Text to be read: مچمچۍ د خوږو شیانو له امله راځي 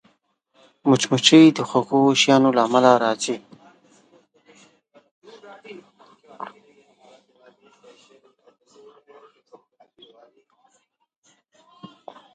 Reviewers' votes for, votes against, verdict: 0, 2, rejected